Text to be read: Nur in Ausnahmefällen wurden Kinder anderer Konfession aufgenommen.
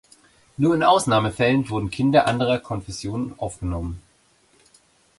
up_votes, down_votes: 2, 0